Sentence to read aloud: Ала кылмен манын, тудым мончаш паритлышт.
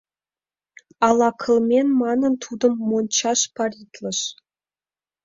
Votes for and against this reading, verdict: 1, 2, rejected